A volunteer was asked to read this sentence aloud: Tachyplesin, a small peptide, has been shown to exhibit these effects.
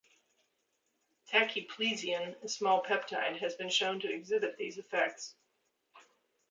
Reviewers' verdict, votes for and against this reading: rejected, 0, 2